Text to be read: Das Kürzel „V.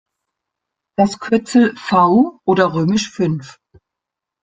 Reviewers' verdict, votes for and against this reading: rejected, 0, 2